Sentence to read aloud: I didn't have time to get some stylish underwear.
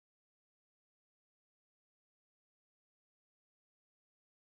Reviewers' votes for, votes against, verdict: 0, 2, rejected